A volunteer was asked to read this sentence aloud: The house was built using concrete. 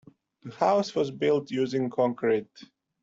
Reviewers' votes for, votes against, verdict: 2, 0, accepted